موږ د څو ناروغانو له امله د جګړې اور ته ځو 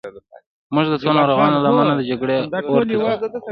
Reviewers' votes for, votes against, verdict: 2, 1, accepted